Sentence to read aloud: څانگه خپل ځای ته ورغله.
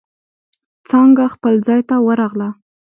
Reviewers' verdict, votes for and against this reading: accepted, 2, 0